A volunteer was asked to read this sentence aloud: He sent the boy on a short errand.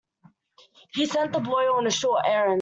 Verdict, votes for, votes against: rejected, 1, 2